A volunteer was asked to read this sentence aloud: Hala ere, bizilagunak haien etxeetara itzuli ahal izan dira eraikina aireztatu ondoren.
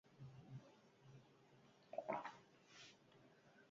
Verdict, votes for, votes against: rejected, 0, 4